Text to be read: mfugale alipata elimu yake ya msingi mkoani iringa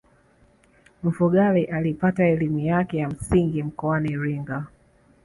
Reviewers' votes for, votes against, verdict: 3, 0, accepted